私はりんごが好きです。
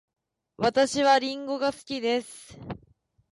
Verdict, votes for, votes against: accepted, 4, 0